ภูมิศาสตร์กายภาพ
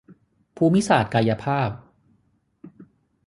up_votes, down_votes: 6, 0